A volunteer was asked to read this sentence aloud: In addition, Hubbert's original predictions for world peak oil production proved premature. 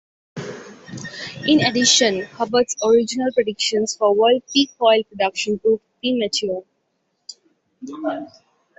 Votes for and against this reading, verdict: 0, 2, rejected